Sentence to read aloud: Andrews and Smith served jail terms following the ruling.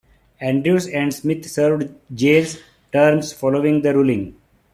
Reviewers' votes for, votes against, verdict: 2, 0, accepted